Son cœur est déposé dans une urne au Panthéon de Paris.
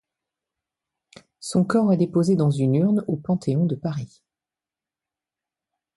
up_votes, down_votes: 2, 1